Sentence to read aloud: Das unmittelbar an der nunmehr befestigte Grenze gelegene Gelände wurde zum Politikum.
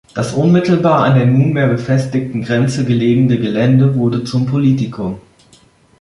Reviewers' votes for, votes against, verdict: 1, 2, rejected